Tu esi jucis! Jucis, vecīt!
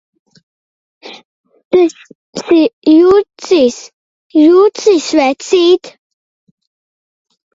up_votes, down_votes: 0, 2